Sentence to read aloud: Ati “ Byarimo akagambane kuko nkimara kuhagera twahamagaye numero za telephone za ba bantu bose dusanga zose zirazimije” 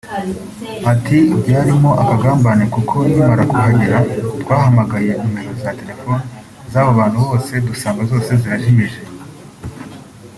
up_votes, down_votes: 1, 2